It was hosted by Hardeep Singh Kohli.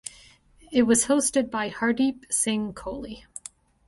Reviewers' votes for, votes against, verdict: 2, 0, accepted